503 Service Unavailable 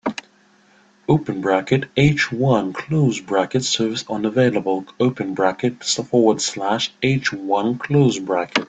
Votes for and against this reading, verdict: 0, 2, rejected